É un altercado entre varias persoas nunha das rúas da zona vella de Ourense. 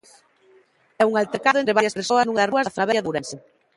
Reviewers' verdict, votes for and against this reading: rejected, 0, 2